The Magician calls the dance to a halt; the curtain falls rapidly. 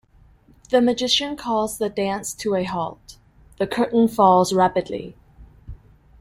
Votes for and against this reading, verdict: 2, 0, accepted